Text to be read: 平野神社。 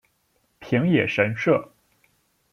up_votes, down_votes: 0, 2